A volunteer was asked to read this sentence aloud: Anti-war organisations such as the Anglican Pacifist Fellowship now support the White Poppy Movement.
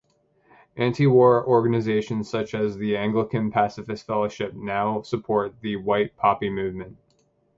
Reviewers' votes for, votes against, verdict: 1, 2, rejected